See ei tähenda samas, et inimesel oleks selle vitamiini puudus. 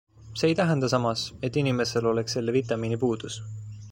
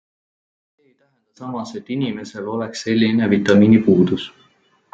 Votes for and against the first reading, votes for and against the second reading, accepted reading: 2, 0, 0, 2, first